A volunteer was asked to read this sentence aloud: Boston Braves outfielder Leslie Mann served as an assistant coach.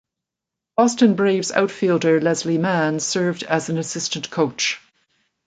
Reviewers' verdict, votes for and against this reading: rejected, 0, 2